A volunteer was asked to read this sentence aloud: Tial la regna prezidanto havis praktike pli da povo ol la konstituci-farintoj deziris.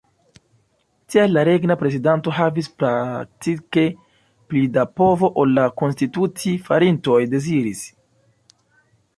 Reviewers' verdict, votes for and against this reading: rejected, 0, 2